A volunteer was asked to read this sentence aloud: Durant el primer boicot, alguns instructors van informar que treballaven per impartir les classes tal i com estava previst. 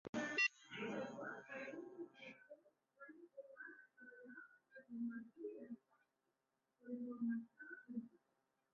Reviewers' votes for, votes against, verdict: 0, 2, rejected